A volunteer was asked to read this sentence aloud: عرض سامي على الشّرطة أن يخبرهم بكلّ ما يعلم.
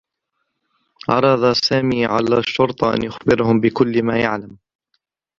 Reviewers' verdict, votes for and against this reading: rejected, 2, 3